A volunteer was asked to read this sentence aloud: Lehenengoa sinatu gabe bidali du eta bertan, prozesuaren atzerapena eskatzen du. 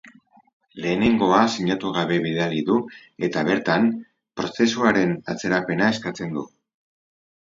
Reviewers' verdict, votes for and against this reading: rejected, 0, 4